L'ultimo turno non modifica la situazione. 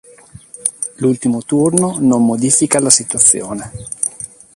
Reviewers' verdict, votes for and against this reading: accepted, 2, 0